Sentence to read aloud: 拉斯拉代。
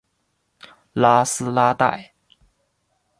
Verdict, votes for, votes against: accepted, 2, 0